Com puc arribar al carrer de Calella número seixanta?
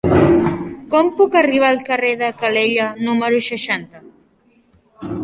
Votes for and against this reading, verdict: 3, 1, accepted